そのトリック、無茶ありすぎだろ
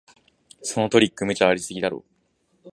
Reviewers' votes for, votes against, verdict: 3, 0, accepted